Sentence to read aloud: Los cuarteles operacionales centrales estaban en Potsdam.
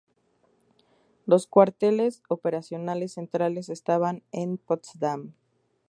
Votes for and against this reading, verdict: 2, 0, accepted